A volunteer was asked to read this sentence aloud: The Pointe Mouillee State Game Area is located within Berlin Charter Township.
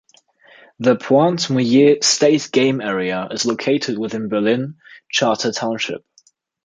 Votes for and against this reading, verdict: 2, 0, accepted